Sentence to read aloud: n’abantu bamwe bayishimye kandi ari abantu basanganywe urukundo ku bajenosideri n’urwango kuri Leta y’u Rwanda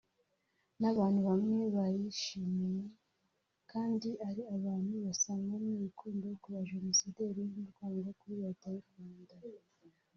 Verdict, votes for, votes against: rejected, 1, 2